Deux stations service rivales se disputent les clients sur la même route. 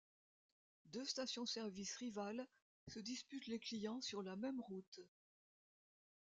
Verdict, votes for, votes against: rejected, 1, 2